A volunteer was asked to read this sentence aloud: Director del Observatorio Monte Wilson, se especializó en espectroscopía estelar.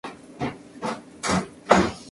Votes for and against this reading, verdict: 0, 2, rejected